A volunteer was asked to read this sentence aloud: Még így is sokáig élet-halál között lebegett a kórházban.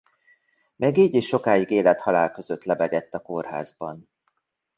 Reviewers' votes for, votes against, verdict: 1, 2, rejected